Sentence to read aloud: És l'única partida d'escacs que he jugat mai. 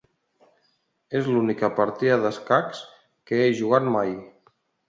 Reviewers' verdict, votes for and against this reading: accepted, 2, 0